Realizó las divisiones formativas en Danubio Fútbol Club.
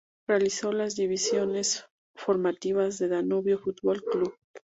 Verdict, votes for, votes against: rejected, 0, 2